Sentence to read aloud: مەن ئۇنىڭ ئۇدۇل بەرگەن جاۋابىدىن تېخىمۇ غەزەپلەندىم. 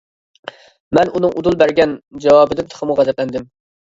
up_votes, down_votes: 2, 0